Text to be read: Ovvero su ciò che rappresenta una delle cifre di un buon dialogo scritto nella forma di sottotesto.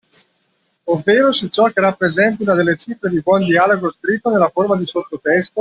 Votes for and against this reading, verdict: 2, 1, accepted